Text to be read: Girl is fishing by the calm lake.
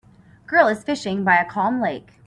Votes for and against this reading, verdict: 2, 3, rejected